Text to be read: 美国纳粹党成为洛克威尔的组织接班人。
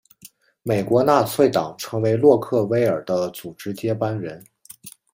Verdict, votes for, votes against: accepted, 2, 0